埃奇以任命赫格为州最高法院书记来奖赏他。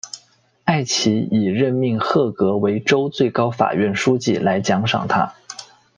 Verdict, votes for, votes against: accepted, 2, 0